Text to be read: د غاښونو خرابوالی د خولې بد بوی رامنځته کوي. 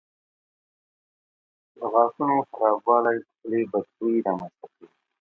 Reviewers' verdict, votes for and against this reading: rejected, 0, 2